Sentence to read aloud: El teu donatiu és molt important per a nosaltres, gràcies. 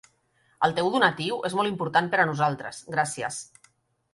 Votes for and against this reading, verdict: 3, 0, accepted